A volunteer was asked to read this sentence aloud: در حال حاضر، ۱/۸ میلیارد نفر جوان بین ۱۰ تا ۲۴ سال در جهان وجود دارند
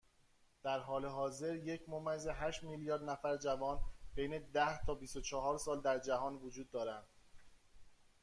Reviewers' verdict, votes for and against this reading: rejected, 0, 2